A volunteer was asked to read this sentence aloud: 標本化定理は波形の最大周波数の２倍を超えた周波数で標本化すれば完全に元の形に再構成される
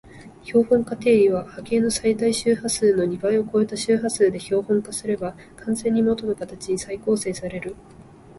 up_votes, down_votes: 0, 2